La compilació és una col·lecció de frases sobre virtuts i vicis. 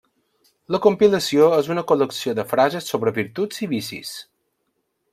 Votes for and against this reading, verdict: 3, 0, accepted